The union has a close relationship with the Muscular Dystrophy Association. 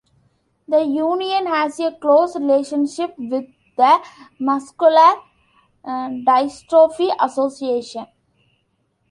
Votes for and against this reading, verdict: 2, 0, accepted